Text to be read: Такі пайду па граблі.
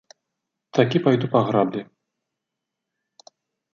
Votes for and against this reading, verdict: 2, 0, accepted